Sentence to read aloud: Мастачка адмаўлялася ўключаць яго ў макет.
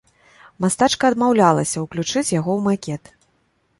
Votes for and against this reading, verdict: 2, 3, rejected